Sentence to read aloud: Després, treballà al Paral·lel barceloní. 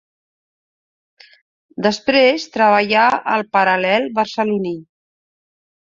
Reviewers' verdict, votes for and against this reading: accepted, 2, 0